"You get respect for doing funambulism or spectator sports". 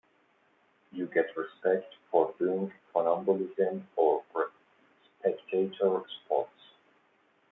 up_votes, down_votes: 1, 2